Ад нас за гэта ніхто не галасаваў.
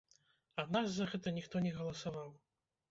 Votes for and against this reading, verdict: 0, 2, rejected